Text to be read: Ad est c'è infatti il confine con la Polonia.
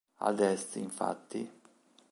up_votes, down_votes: 0, 2